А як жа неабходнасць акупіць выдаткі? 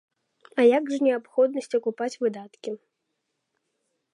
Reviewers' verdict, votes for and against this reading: rejected, 1, 2